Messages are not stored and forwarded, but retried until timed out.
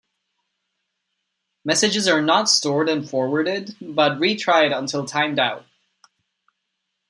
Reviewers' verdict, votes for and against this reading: accepted, 2, 0